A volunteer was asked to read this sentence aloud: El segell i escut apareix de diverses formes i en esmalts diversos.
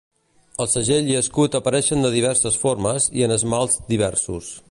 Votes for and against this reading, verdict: 0, 2, rejected